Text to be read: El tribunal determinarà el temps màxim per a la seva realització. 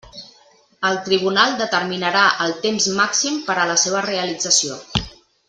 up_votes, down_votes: 2, 0